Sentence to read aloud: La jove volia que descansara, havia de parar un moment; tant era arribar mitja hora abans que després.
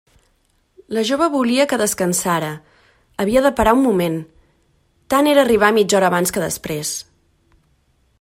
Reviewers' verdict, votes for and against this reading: accepted, 2, 0